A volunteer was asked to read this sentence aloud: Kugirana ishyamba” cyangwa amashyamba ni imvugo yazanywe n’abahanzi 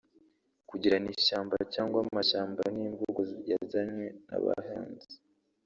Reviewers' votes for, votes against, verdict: 1, 2, rejected